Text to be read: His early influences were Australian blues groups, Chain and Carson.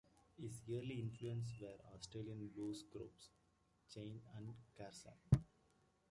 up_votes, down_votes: 1, 2